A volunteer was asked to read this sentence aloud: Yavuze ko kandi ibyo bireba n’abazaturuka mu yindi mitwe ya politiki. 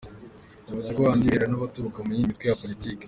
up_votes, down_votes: 2, 1